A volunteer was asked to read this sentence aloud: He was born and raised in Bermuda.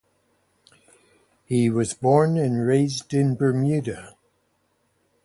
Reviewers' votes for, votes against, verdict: 2, 0, accepted